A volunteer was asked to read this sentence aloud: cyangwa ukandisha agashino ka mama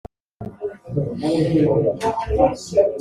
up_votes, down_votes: 0, 2